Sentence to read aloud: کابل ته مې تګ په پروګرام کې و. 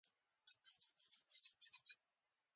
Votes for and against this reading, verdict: 0, 2, rejected